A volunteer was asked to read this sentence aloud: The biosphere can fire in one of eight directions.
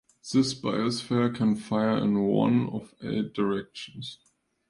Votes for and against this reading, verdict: 0, 2, rejected